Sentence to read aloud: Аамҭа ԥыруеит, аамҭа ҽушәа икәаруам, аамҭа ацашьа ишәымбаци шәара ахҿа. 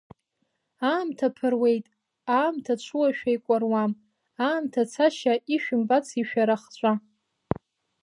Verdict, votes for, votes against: rejected, 1, 2